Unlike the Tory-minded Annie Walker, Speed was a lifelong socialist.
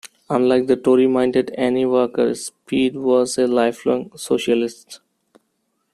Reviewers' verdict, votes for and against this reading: rejected, 1, 2